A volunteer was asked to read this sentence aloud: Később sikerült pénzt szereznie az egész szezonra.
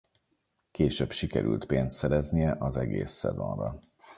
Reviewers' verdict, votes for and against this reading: accepted, 4, 0